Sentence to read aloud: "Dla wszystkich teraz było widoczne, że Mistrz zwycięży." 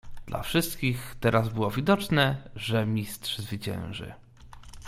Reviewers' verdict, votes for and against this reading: accepted, 2, 0